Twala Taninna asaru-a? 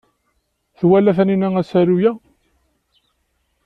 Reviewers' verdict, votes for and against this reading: accepted, 2, 0